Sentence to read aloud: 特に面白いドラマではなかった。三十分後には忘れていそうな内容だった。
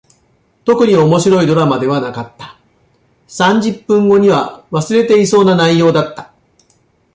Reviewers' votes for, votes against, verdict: 2, 0, accepted